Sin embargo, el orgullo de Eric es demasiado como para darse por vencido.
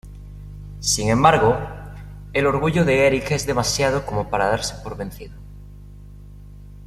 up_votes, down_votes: 0, 2